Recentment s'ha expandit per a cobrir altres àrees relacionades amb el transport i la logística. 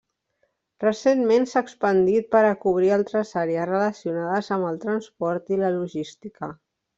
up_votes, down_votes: 3, 0